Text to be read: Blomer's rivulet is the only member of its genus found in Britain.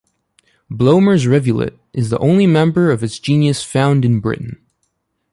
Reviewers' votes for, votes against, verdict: 1, 2, rejected